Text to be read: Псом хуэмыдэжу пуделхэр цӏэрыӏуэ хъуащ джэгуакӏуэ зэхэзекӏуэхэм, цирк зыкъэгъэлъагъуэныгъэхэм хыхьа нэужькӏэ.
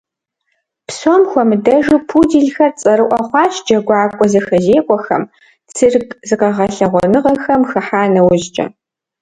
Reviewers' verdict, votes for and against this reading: accepted, 2, 0